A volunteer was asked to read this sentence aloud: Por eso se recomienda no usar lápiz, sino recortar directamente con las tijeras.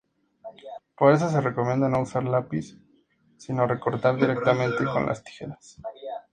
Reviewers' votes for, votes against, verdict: 2, 0, accepted